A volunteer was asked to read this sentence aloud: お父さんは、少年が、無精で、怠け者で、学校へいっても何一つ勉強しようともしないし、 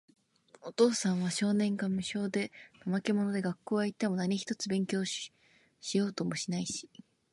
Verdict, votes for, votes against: rejected, 0, 2